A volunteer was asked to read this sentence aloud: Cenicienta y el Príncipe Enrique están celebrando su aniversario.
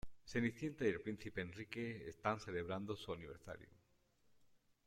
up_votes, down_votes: 2, 0